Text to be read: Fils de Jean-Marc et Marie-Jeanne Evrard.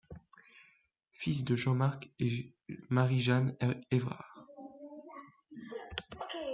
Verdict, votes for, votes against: rejected, 0, 2